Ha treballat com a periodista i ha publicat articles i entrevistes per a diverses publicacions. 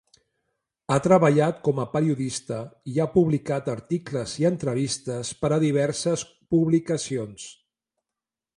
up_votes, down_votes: 2, 0